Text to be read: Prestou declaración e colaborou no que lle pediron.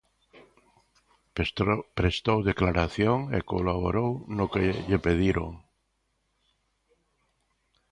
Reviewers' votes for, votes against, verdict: 0, 2, rejected